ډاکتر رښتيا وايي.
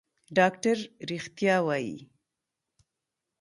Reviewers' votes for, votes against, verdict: 2, 1, accepted